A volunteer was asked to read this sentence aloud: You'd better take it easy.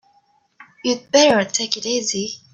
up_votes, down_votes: 3, 2